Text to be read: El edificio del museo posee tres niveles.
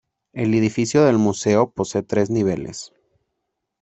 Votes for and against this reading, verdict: 1, 2, rejected